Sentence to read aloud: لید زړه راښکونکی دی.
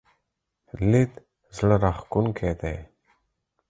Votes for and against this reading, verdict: 4, 0, accepted